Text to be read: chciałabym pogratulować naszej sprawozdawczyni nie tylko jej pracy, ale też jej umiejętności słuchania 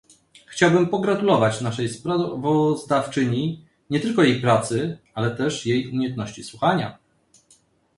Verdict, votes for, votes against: accepted, 2, 0